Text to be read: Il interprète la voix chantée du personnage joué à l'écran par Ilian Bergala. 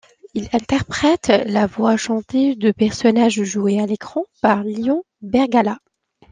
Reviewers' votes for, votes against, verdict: 1, 2, rejected